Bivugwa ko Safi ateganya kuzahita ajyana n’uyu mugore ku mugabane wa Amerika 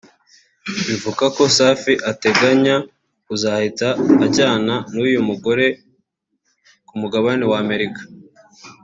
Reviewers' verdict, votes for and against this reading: accepted, 3, 0